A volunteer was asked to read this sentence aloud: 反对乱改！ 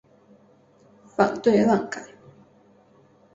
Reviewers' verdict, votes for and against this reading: accepted, 3, 0